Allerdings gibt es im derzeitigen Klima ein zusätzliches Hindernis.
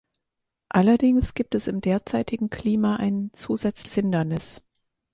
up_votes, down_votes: 0, 4